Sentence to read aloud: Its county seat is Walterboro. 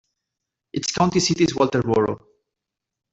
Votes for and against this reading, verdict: 2, 3, rejected